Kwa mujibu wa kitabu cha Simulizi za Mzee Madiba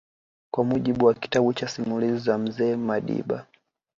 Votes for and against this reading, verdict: 2, 0, accepted